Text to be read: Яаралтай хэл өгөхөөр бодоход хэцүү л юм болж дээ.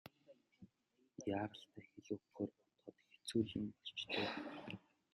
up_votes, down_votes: 0, 2